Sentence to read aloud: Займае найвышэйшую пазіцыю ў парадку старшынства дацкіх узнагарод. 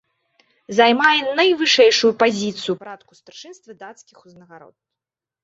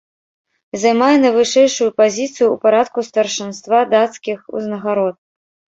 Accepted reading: first